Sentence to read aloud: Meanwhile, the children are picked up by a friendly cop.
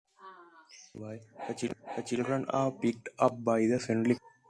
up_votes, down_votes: 1, 2